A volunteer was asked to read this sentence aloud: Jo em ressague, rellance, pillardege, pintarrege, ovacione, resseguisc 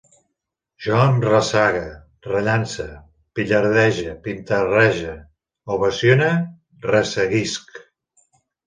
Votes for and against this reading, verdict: 2, 0, accepted